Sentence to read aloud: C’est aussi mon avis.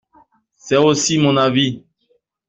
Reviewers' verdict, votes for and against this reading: accepted, 2, 0